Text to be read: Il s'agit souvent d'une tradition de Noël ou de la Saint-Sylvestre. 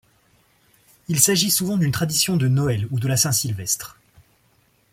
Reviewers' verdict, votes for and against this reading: accepted, 2, 0